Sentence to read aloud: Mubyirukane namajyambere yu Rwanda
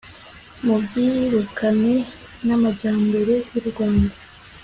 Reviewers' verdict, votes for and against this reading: accepted, 2, 0